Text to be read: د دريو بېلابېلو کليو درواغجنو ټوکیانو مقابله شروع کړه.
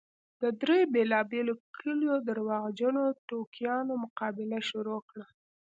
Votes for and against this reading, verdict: 2, 0, accepted